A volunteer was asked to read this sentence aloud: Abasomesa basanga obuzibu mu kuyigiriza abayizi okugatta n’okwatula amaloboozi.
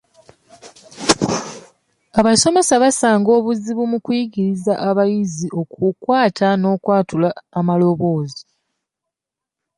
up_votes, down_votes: 0, 2